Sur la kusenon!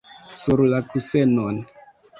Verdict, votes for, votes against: rejected, 1, 2